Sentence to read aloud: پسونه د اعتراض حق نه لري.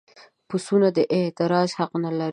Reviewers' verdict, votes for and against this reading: rejected, 1, 2